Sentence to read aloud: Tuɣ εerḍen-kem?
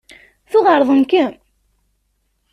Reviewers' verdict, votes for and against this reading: accepted, 2, 0